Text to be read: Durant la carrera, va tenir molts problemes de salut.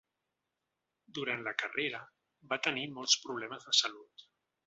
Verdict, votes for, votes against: accepted, 4, 0